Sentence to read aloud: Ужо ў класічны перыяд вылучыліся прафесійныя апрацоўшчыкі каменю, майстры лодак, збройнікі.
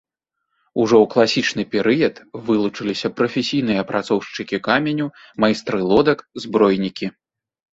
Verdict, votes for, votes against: accepted, 2, 0